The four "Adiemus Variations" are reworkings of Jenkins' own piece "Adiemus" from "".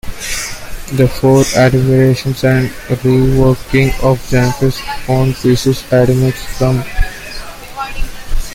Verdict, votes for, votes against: rejected, 1, 2